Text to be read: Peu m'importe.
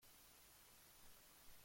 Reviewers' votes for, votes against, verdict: 0, 2, rejected